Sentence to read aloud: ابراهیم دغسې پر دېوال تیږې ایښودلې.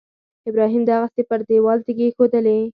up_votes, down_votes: 2, 4